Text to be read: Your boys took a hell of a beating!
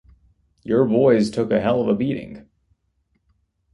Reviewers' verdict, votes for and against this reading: rejected, 1, 2